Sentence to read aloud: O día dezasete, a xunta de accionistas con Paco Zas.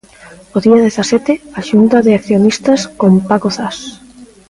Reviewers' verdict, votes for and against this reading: accepted, 2, 0